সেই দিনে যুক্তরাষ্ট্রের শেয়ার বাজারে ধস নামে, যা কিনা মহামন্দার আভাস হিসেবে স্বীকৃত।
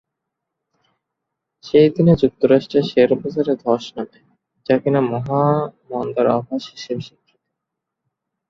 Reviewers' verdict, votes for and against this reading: rejected, 2, 2